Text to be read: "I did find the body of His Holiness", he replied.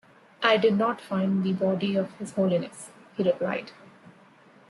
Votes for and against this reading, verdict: 1, 2, rejected